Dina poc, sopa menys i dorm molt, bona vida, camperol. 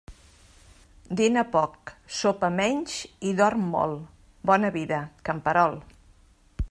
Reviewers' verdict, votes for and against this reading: accepted, 2, 0